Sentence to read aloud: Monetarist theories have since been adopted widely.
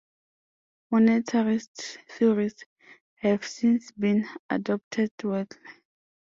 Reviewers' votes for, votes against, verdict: 1, 2, rejected